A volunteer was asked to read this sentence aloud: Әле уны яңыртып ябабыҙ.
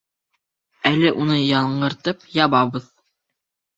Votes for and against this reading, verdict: 4, 2, accepted